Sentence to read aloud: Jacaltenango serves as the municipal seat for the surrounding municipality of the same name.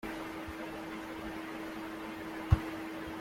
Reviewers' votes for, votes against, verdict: 0, 2, rejected